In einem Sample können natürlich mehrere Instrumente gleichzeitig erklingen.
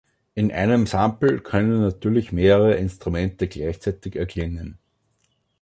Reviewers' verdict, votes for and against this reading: accepted, 2, 0